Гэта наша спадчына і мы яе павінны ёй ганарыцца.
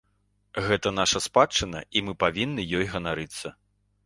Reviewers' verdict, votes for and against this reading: accepted, 2, 1